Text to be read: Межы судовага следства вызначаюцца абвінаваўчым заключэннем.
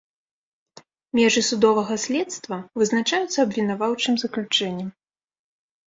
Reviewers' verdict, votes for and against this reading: accepted, 2, 1